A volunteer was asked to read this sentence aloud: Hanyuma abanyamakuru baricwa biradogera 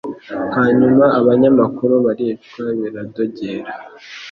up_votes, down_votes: 2, 0